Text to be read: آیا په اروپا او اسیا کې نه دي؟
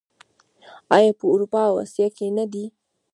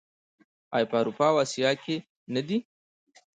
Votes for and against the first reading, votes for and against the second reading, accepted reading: 1, 2, 2, 0, second